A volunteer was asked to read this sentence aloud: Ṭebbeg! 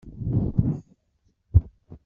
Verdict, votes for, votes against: rejected, 0, 2